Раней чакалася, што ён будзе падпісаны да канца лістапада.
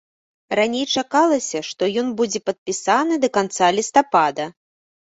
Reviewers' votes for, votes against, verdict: 2, 0, accepted